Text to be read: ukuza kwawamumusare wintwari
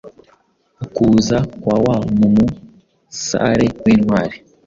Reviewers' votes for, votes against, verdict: 2, 0, accepted